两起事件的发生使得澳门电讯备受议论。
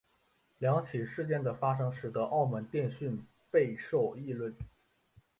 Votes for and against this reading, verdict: 0, 2, rejected